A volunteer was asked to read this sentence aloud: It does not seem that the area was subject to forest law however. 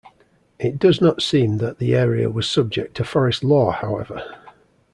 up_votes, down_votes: 2, 0